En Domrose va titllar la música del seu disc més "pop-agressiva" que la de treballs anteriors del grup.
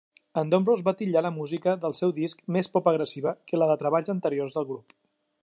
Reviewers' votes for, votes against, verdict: 2, 0, accepted